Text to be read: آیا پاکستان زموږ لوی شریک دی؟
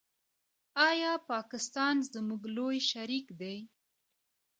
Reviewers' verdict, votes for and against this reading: accepted, 2, 1